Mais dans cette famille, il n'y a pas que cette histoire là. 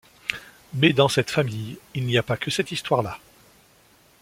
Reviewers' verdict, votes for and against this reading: accepted, 2, 0